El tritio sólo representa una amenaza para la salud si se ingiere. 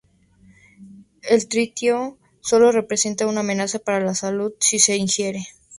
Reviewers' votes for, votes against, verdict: 2, 0, accepted